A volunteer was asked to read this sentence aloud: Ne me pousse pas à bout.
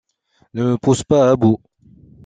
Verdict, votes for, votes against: accepted, 2, 0